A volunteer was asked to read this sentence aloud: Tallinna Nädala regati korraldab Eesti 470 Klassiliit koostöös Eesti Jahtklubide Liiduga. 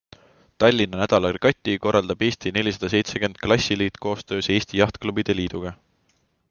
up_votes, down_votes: 0, 2